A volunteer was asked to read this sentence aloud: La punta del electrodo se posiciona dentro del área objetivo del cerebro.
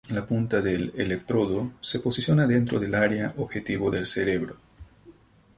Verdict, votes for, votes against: accepted, 4, 0